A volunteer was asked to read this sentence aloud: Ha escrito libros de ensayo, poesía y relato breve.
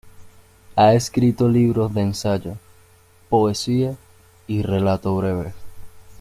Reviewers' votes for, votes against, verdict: 3, 2, accepted